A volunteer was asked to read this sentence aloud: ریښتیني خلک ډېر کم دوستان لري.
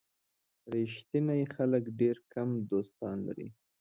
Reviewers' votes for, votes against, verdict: 2, 0, accepted